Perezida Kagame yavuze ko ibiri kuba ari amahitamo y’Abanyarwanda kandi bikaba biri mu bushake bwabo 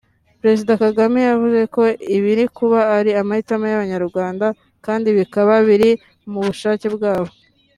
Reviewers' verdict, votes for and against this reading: accepted, 5, 0